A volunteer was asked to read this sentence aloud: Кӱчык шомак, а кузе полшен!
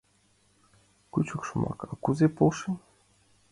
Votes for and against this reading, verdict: 2, 1, accepted